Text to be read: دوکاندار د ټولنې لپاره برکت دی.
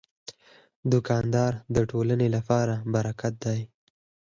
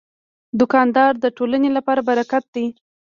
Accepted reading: first